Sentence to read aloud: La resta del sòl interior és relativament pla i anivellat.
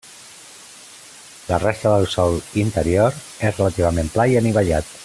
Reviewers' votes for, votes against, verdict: 3, 0, accepted